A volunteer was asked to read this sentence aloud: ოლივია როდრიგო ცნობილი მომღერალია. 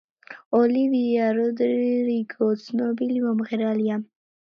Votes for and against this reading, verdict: 0, 2, rejected